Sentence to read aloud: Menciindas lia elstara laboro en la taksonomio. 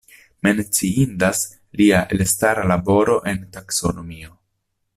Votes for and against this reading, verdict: 0, 2, rejected